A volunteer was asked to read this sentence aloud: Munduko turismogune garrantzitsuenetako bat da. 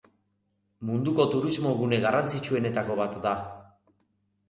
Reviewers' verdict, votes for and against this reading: accepted, 3, 0